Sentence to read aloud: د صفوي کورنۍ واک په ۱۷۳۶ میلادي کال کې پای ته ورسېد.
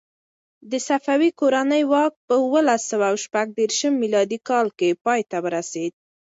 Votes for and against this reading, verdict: 0, 2, rejected